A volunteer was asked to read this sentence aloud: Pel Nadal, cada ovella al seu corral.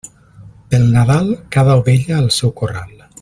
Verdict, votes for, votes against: accepted, 2, 0